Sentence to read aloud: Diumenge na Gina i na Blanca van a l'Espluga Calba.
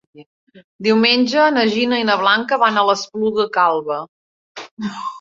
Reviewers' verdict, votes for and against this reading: rejected, 0, 2